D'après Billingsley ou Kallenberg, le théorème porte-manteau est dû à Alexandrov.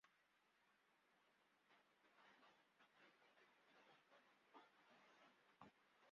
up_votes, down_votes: 0, 2